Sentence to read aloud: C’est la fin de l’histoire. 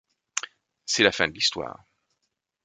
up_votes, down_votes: 2, 0